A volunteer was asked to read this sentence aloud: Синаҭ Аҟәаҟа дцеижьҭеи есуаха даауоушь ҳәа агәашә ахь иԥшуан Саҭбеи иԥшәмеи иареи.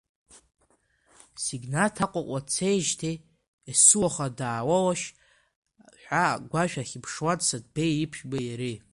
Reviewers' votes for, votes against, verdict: 1, 2, rejected